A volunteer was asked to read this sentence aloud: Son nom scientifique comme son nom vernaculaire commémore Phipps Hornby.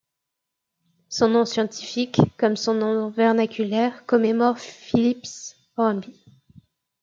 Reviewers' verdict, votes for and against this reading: rejected, 1, 2